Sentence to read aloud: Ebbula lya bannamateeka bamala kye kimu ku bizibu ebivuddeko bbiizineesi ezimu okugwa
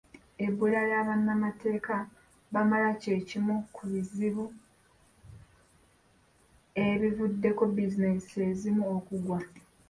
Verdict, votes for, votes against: rejected, 0, 2